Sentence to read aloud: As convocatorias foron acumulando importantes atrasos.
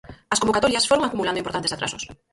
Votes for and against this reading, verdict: 2, 4, rejected